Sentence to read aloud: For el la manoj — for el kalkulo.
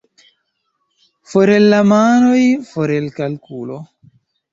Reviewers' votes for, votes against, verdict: 0, 2, rejected